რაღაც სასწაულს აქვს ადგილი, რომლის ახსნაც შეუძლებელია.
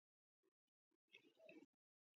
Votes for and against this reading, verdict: 2, 1, accepted